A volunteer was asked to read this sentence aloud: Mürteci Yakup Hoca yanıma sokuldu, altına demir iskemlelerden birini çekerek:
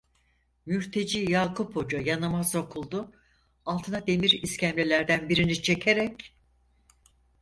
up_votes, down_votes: 4, 0